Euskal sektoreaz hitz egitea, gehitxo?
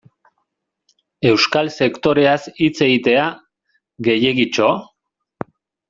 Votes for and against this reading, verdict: 1, 2, rejected